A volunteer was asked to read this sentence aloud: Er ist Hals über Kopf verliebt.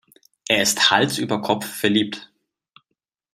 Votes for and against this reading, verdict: 2, 0, accepted